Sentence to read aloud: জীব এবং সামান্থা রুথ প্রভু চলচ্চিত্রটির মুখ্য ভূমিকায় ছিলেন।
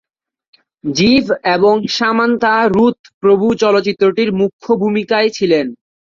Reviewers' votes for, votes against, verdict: 6, 3, accepted